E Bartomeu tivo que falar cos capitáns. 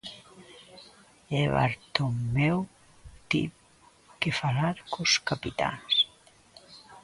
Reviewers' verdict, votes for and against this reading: rejected, 0, 2